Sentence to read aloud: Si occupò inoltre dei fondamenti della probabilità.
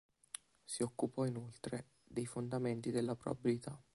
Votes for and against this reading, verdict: 2, 0, accepted